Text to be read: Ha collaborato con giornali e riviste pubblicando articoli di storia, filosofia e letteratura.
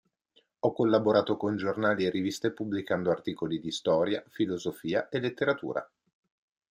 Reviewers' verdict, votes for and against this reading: rejected, 0, 2